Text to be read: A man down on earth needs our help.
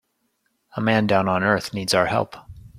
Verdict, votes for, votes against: accepted, 3, 0